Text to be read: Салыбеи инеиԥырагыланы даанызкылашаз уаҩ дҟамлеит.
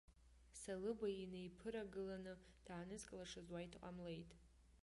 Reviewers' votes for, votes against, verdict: 2, 1, accepted